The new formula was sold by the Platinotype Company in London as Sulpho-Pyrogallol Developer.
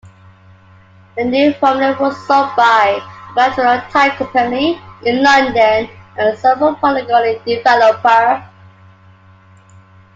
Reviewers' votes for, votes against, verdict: 0, 2, rejected